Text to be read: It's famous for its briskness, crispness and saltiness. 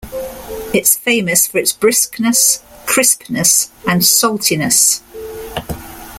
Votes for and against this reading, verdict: 2, 0, accepted